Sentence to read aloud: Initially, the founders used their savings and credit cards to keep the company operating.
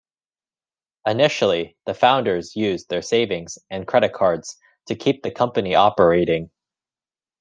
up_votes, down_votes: 2, 0